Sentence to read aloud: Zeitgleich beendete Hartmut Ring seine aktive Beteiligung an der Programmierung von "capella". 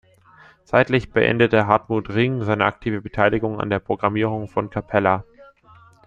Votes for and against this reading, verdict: 0, 2, rejected